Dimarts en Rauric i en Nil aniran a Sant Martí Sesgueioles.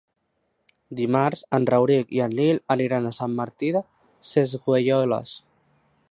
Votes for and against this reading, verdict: 1, 2, rejected